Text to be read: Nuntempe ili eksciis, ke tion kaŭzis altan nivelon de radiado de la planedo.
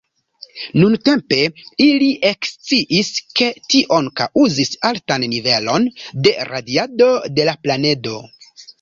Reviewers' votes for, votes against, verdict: 2, 1, accepted